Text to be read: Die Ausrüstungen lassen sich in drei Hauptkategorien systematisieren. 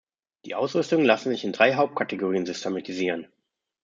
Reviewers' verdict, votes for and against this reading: rejected, 1, 2